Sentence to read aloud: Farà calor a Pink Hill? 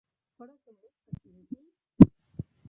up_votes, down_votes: 0, 2